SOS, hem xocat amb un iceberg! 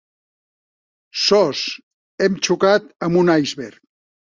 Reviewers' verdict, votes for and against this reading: rejected, 0, 2